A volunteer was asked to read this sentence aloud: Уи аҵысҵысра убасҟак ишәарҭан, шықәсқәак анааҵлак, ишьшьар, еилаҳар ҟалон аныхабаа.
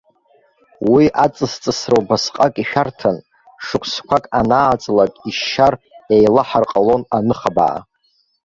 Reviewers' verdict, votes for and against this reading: rejected, 0, 2